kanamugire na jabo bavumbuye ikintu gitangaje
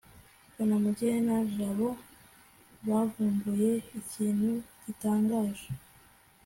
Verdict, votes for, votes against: accepted, 2, 0